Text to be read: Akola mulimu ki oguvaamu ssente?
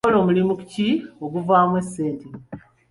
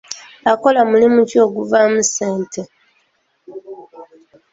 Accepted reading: second